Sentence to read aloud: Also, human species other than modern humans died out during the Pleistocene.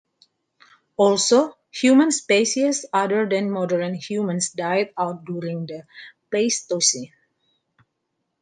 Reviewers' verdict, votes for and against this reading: accepted, 2, 0